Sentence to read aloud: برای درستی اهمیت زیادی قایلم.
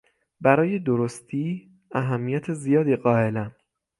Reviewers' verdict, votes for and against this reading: accepted, 6, 0